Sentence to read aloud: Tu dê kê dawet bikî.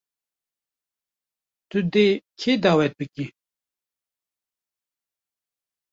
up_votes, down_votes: 0, 2